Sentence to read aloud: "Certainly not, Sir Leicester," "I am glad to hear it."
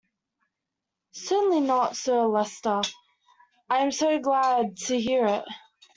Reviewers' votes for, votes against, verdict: 0, 2, rejected